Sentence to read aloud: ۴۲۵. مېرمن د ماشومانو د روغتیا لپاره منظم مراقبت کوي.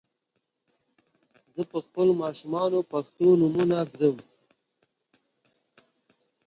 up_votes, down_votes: 0, 2